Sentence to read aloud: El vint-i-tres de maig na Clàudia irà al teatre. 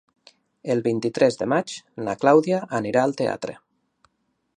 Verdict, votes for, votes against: rejected, 0, 2